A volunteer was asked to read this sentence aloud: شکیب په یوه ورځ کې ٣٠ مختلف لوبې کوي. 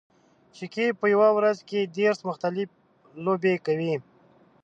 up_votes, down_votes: 0, 2